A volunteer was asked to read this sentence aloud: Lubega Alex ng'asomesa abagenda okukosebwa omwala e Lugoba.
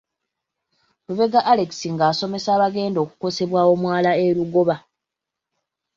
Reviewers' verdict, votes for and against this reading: accepted, 2, 0